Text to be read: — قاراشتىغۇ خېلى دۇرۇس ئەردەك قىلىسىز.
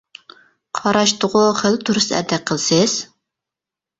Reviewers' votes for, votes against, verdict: 0, 2, rejected